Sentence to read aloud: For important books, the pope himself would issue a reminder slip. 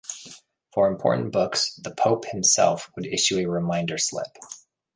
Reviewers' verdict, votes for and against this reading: accepted, 2, 0